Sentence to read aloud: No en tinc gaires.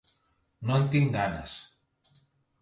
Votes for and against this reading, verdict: 0, 2, rejected